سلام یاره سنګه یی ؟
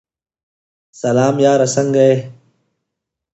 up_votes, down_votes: 2, 0